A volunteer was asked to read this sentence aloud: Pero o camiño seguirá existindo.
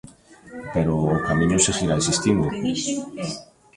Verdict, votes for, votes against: rejected, 0, 2